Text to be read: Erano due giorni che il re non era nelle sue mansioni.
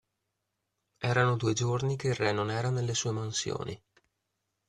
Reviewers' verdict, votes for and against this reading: accepted, 2, 0